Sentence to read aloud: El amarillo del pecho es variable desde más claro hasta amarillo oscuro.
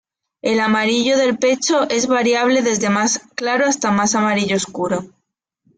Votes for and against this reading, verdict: 1, 2, rejected